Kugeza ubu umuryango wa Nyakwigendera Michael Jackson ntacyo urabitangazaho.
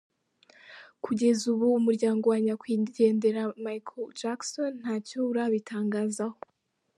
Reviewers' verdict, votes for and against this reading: accepted, 2, 1